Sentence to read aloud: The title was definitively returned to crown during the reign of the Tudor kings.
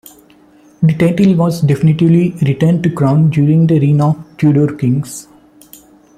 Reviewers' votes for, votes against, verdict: 0, 2, rejected